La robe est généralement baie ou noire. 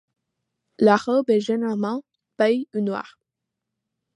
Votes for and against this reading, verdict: 2, 0, accepted